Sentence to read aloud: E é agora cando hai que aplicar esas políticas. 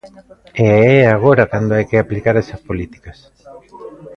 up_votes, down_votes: 2, 0